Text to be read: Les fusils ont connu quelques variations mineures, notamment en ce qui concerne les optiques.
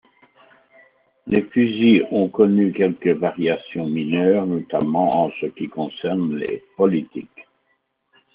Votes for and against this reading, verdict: 0, 2, rejected